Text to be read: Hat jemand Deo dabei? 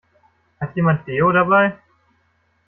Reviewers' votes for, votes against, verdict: 2, 0, accepted